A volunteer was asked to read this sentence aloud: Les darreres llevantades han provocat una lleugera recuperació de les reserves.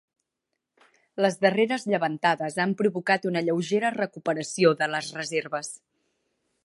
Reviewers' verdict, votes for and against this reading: accepted, 2, 0